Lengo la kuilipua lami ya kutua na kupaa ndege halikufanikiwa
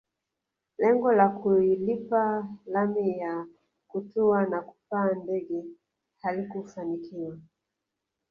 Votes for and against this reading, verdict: 0, 2, rejected